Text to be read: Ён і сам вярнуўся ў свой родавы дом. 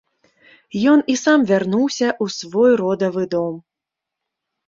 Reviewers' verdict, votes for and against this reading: accepted, 2, 0